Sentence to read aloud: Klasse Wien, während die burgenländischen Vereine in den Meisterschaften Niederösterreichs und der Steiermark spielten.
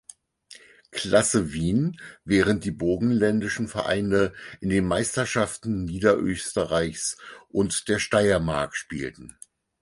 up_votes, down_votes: 4, 0